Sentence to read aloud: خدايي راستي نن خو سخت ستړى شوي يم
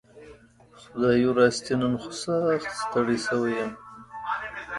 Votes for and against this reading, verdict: 2, 0, accepted